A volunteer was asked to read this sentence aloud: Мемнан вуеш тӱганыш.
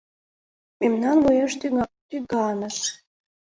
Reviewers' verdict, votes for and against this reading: rejected, 0, 2